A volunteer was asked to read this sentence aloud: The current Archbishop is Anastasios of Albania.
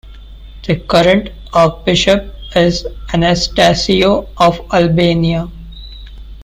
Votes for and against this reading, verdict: 2, 0, accepted